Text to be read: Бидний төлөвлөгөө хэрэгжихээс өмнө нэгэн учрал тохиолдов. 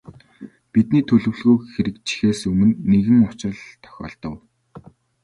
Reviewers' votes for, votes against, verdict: 2, 0, accepted